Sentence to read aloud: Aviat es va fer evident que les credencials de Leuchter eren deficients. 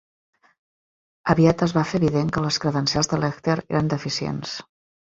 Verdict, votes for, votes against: rejected, 1, 2